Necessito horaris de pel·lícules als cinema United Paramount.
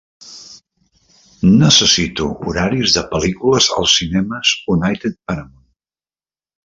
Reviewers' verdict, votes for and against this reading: rejected, 0, 2